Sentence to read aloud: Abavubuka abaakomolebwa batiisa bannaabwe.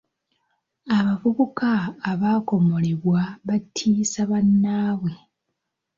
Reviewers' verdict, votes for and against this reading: accepted, 2, 0